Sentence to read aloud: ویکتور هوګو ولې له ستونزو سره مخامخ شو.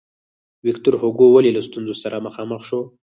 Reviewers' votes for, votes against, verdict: 4, 0, accepted